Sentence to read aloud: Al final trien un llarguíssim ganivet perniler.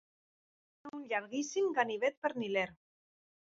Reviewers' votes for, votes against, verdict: 0, 2, rejected